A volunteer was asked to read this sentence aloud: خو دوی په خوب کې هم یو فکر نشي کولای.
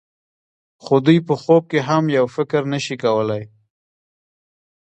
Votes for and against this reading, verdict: 2, 1, accepted